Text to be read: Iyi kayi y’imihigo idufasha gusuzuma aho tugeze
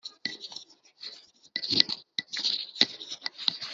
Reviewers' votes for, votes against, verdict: 0, 3, rejected